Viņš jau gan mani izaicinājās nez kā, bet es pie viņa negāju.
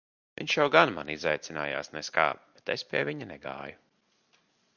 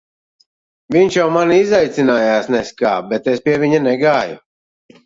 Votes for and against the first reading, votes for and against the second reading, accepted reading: 2, 0, 0, 2, first